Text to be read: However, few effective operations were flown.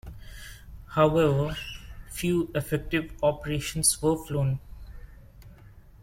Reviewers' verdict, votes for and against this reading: accepted, 2, 1